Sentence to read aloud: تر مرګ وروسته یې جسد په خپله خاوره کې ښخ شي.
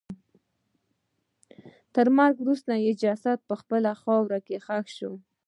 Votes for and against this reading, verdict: 1, 2, rejected